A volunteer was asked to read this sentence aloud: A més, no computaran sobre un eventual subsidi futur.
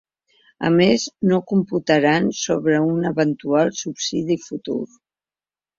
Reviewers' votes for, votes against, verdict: 3, 0, accepted